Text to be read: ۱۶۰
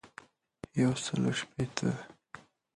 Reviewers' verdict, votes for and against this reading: rejected, 0, 2